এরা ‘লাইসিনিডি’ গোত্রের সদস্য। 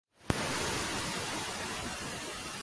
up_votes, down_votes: 0, 2